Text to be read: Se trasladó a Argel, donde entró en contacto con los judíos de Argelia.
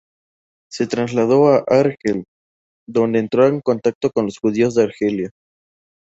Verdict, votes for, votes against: accepted, 2, 0